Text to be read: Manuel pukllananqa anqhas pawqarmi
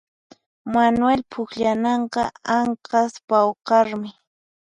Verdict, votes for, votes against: accepted, 4, 0